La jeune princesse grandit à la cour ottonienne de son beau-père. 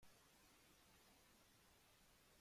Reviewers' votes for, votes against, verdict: 1, 3, rejected